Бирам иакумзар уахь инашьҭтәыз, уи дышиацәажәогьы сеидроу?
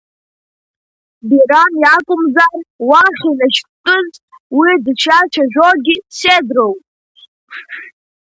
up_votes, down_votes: 2, 1